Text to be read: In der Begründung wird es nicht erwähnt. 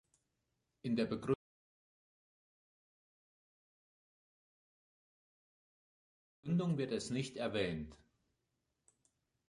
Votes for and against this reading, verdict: 0, 2, rejected